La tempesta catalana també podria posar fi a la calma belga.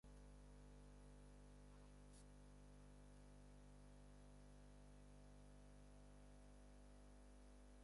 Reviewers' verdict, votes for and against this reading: rejected, 0, 4